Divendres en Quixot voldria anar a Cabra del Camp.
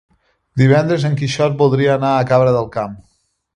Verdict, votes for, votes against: accepted, 2, 0